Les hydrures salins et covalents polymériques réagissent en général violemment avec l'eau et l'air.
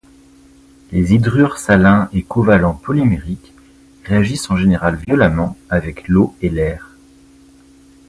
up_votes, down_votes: 2, 0